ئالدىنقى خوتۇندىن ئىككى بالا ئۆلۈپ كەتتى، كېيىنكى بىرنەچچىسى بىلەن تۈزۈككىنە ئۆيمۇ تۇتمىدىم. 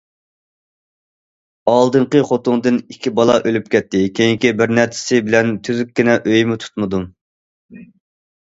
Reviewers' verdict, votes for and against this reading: accepted, 2, 1